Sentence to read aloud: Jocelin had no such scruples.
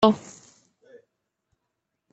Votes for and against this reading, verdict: 0, 2, rejected